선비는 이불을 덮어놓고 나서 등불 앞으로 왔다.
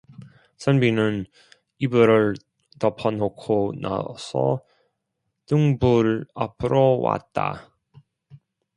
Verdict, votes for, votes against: rejected, 0, 2